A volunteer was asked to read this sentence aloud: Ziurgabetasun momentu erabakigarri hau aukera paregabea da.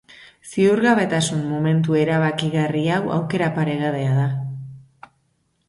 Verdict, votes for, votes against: accepted, 2, 0